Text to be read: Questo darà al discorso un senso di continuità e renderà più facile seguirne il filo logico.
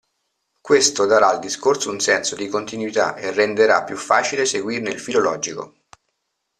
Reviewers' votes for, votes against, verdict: 2, 0, accepted